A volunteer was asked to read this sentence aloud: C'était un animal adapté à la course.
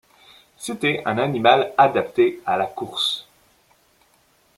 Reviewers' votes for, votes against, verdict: 2, 0, accepted